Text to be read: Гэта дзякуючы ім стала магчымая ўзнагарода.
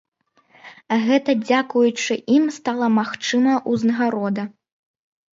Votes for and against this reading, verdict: 1, 2, rejected